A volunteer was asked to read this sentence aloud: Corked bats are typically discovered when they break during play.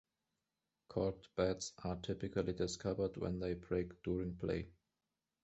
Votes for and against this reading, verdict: 2, 0, accepted